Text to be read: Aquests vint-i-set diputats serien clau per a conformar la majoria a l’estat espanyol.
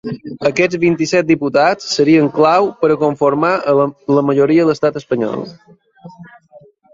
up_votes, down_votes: 0, 2